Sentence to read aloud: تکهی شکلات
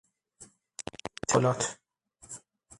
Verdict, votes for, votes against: rejected, 0, 6